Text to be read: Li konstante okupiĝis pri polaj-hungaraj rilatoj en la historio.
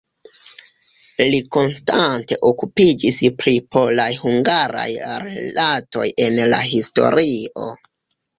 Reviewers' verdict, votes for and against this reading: accepted, 2, 0